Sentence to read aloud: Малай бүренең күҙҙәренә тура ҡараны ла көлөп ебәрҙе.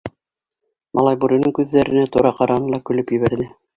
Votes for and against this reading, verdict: 2, 0, accepted